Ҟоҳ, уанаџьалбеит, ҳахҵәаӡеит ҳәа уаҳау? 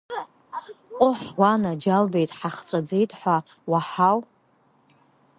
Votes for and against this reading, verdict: 1, 2, rejected